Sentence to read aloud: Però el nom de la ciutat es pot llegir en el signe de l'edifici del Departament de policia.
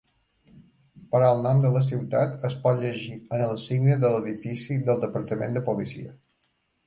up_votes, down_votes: 2, 0